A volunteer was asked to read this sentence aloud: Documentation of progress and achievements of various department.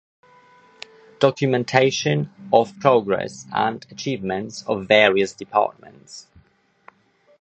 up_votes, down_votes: 1, 2